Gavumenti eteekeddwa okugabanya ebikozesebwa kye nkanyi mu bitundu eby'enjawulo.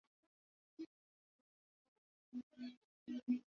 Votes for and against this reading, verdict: 0, 2, rejected